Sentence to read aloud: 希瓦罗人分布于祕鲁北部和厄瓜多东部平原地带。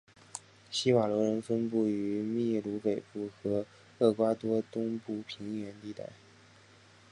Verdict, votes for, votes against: accepted, 3, 0